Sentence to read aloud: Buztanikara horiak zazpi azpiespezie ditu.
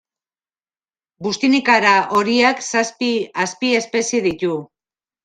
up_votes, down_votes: 0, 2